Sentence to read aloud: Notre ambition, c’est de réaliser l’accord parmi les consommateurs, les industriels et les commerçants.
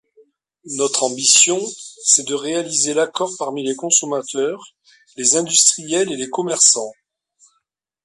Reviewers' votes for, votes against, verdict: 2, 0, accepted